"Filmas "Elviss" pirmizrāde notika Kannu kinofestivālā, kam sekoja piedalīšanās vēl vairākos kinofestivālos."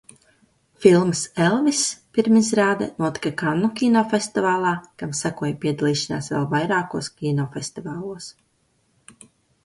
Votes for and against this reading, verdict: 2, 0, accepted